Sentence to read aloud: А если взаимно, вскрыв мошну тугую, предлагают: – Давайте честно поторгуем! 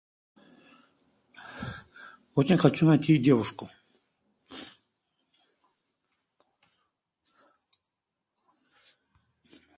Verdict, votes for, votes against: rejected, 0, 2